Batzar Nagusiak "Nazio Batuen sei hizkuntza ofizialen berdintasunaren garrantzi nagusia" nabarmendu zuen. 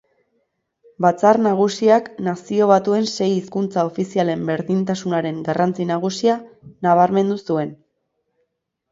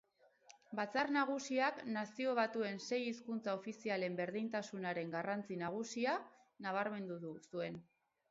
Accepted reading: first